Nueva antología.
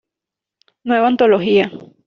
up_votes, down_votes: 2, 0